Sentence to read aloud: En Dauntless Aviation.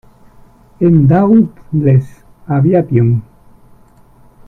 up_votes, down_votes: 0, 2